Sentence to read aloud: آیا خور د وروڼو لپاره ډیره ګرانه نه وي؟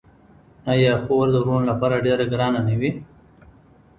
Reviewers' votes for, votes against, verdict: 2, 1, accepted